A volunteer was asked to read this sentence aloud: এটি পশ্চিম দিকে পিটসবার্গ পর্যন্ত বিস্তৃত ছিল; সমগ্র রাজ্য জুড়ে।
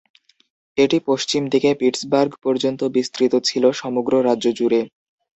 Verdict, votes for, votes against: accepted, 2, 0